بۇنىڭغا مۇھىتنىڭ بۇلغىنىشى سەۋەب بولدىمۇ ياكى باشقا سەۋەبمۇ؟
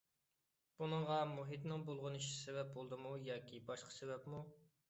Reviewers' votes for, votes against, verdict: 2, 0, accepted